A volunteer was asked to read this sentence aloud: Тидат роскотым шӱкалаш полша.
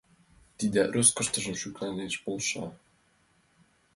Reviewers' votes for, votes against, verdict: 2, 1, accepted